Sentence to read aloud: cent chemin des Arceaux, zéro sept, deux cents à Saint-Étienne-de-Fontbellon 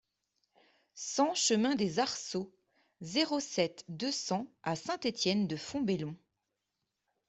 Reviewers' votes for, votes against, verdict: 2, 0, accepted